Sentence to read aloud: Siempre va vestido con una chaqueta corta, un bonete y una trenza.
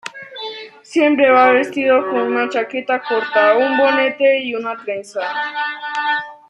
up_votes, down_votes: 1, 2